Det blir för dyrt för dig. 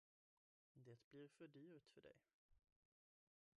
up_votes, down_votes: 1, 2